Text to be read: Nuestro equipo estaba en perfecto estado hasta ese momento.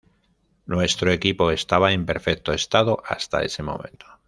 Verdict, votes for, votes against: rejected, 1, 2